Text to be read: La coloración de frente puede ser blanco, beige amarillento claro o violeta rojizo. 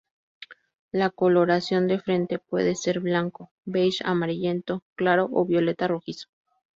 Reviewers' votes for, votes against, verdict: 2, 0, accepted